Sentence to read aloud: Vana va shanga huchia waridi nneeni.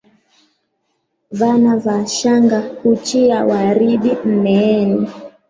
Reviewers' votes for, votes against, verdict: 3, 2, accepted